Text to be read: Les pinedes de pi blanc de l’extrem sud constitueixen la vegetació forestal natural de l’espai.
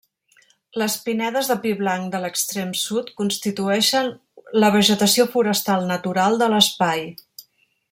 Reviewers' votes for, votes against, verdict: 3, 0, accepted